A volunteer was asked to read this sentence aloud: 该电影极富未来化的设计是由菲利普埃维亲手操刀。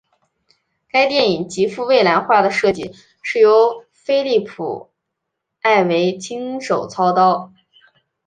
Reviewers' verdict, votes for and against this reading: accepted, 4, 0